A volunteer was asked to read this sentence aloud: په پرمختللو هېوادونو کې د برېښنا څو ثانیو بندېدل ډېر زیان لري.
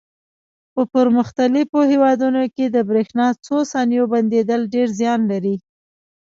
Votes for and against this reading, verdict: 0, 2, rejected